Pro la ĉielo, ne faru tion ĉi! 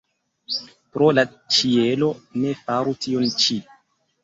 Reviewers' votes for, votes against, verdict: 2, 0, accepted